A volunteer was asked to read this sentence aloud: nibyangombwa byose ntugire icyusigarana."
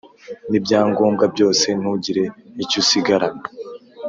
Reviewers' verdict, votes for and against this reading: accepted, 4, 0